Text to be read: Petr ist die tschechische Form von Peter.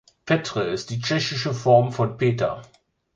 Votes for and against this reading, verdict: 4, 1, accepted